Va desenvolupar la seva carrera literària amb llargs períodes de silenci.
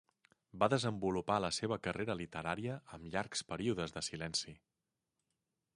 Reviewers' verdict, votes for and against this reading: accepted, 3, 1